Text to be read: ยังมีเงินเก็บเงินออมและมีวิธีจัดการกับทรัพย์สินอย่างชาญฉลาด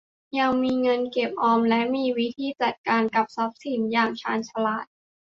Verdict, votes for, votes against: accepted, 2, 1